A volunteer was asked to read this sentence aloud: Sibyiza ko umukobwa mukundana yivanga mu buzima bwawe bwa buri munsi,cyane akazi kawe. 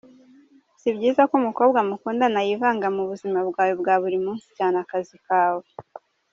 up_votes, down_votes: 2, 0